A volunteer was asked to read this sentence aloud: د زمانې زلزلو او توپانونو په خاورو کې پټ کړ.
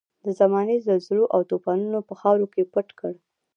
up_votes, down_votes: 2, 0